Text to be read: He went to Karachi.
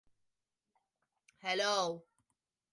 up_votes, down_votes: 0, 4